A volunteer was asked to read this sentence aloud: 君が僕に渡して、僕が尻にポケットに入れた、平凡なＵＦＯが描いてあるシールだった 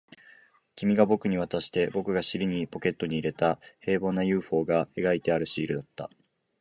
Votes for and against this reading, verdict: 3, 0, accepted